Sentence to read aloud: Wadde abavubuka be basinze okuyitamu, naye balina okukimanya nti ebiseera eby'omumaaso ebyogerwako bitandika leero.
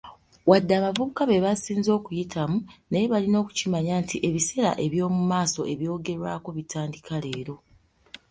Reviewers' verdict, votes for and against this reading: accepted, 3, 0